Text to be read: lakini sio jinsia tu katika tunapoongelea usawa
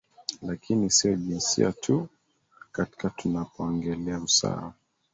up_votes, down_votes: 2, 1